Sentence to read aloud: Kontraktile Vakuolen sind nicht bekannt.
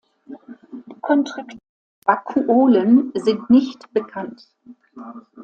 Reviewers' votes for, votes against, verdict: 0, 2, rejected